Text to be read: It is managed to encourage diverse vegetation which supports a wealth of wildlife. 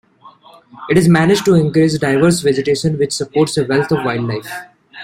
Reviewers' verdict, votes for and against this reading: accepted, 2, 0